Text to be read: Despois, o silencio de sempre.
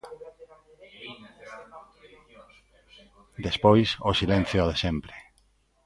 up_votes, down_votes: 1, 2